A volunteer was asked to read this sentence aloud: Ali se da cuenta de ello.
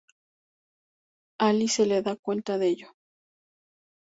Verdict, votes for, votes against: rejected, 0, 4